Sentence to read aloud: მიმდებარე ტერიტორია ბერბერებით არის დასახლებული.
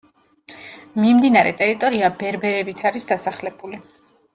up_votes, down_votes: 1, 2